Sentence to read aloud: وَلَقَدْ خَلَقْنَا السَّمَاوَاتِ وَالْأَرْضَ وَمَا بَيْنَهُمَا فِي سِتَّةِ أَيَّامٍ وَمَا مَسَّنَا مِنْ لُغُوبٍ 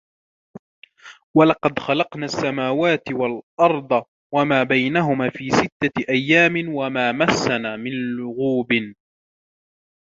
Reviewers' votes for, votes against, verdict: 2, 0, accepted